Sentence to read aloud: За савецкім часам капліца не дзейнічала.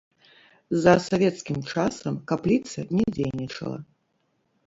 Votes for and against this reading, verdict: 0, 2, rejected